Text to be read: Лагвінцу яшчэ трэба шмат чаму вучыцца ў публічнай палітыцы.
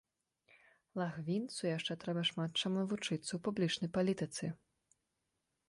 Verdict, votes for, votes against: accepted, 2, 0